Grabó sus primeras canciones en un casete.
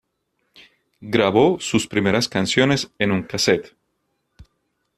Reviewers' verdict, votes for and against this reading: accepted, 2, 0